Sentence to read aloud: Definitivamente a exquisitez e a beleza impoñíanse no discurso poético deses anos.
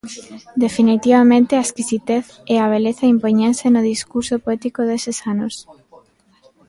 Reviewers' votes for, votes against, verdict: 0, 2, rejected